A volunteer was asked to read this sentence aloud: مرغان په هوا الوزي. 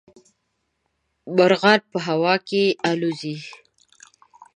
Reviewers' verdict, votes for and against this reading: rejected, 1, 2